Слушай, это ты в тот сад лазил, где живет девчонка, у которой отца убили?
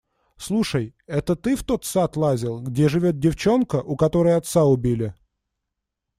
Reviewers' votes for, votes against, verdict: 2, 0, accepted